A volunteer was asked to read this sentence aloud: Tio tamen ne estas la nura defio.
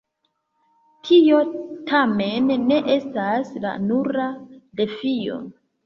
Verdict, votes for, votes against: rejected, 0, 2